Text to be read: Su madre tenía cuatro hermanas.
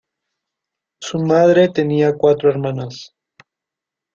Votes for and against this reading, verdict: 0, 2, rejected